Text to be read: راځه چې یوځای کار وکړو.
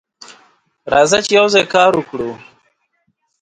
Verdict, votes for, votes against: accepted, 2, 0